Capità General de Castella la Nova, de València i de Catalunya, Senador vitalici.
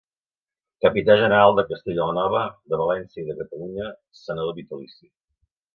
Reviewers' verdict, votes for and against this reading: accepted, 2, 1